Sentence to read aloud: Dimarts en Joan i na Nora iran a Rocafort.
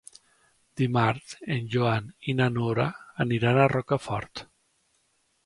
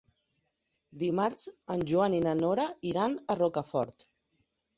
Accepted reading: second